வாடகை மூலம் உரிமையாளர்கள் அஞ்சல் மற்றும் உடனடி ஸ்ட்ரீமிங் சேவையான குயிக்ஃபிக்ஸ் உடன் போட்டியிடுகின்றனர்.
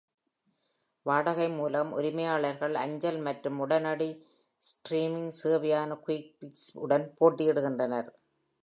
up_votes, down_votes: 1, 2